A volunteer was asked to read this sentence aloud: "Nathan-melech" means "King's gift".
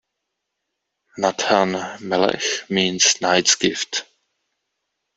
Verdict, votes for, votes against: rejected, 0, 2